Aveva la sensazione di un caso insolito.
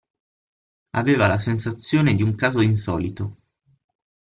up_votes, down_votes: 6, 0